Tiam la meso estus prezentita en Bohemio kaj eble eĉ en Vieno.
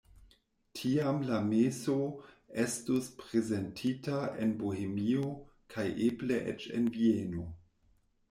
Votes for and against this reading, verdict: 2, 0, accepted